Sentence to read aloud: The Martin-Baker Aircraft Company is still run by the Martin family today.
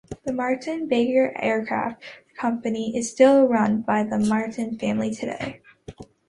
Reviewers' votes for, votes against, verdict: 2, 0, accepted